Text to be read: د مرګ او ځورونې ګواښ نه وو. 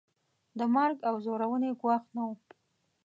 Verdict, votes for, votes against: accepted, 2, 0